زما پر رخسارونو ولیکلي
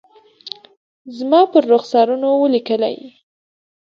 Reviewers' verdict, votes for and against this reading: rejected, 0, 2